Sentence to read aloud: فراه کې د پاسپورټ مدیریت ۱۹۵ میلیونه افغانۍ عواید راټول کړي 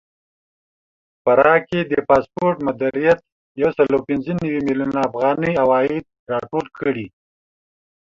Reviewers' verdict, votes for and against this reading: rejected, 0, 2